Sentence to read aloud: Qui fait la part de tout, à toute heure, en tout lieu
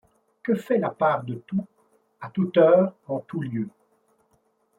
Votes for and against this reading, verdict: 0, 2, rejected